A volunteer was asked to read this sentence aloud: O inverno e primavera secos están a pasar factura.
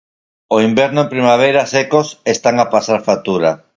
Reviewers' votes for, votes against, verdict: 4, 2, accepted